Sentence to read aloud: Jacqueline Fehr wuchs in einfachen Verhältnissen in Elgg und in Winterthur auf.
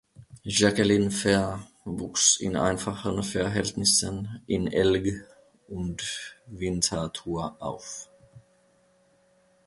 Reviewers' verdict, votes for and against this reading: rejected, 0, 2